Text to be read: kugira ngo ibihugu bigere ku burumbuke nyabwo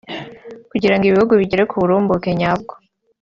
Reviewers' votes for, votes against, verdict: 2, 1, accepted